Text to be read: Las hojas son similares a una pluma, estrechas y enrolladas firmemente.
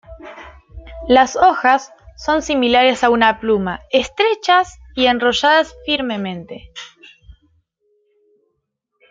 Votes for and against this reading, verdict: 1, 2, rejected